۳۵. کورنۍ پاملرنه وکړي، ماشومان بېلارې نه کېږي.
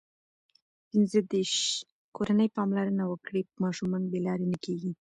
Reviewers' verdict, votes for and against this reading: rejected, 0, 2